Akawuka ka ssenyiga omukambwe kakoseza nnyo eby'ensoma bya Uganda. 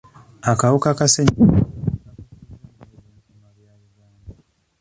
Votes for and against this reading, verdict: 0, 2, rejected